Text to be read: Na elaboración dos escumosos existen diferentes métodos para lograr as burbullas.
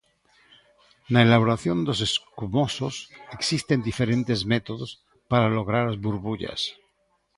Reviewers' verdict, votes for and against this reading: accepted, 2, 1